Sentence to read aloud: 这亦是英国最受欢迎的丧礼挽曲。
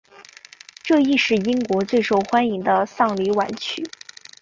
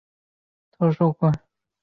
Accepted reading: first